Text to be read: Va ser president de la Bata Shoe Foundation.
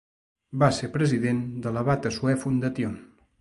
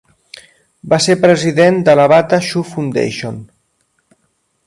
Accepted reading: second